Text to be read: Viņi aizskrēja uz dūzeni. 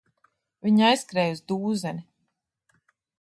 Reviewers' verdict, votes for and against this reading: accepted, 2, 0